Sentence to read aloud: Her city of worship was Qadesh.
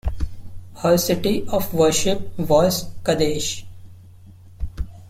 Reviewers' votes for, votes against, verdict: 2, 0, accepted